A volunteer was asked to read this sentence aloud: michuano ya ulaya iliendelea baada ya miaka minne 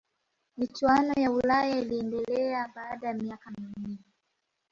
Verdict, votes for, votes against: accepted, 2, 0